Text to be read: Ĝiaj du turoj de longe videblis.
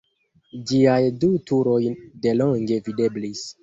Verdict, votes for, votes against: accepted, 2, 0